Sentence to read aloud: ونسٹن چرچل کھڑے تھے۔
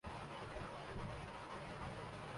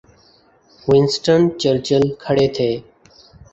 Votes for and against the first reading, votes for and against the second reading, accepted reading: 0, 2, 3, 0, second